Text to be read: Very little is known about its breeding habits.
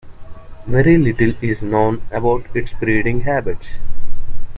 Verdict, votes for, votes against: accepted, 2, 0